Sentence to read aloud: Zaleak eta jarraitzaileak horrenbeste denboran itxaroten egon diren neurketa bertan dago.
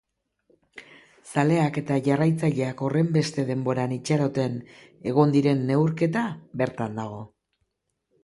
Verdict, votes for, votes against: accepted, 2, 0